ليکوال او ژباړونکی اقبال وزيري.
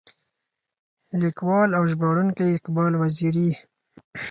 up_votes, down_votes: 4, 0